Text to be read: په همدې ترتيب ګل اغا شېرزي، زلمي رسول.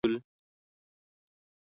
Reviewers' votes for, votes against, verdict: 1, 2, rejected